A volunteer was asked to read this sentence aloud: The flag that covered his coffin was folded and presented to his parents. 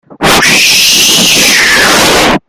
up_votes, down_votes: 0, 2